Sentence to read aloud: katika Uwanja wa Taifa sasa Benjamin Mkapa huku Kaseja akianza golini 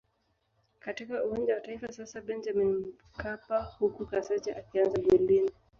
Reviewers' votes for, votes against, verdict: 2, 0, accepted